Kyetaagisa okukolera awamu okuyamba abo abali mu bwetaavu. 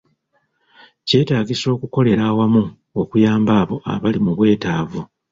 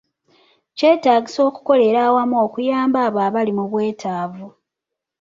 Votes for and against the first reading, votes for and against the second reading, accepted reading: 0, 2, 2, 0, second